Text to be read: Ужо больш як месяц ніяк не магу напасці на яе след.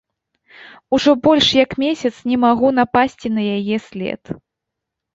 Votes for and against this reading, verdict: 0, 2, rejected